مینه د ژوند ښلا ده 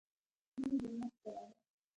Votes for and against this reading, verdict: 1, 2, rejected